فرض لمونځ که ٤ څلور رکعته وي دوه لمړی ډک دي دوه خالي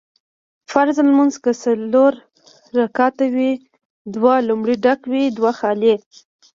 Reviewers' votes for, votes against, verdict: 0, 2, rejected